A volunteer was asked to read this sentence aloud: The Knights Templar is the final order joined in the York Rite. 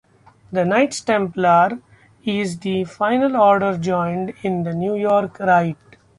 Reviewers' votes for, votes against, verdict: 2, 0, accepted